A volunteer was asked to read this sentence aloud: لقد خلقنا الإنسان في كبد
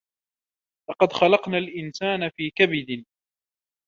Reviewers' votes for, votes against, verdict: 1, 2, rejected